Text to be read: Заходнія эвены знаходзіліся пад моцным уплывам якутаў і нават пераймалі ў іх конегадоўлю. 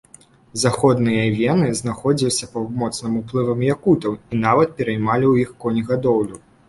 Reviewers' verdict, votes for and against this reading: accepted, 2, 0